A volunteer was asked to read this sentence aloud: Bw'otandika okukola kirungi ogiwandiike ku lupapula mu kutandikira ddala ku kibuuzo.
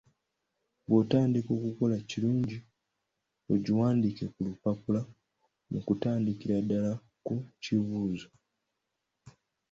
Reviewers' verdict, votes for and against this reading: rejected, 0, 2